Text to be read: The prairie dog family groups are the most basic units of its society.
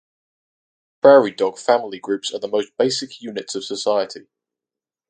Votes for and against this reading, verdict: 2, 2, rejected